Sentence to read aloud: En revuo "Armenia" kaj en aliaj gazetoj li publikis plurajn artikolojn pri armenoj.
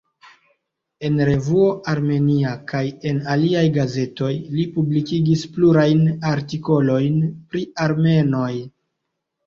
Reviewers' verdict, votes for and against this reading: accepted, 2, 0